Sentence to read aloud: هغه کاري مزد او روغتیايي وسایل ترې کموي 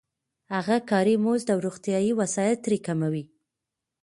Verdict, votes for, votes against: accepted, 2, 0